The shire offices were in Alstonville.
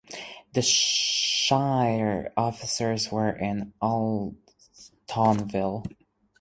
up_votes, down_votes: 2, 4